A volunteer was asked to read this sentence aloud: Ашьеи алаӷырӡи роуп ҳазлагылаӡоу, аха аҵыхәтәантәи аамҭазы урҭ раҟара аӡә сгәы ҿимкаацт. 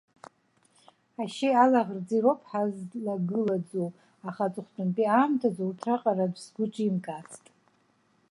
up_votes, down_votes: 1, 2